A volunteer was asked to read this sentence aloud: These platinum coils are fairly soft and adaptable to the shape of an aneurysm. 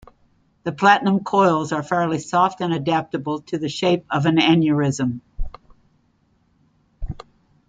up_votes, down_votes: 1, 2